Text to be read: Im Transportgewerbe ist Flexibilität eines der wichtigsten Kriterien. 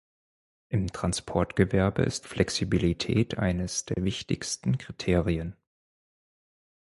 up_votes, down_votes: 4, 0